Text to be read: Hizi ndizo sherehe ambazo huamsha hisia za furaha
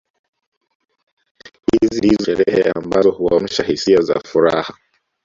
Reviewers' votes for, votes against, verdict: 1, 2, rejected